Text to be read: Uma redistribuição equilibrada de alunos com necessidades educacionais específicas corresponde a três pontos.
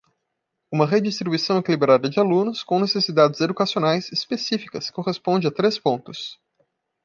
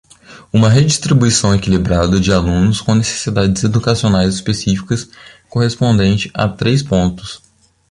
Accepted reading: first